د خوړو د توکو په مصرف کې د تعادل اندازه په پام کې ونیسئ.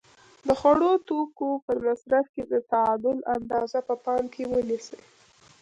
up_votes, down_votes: 1, 2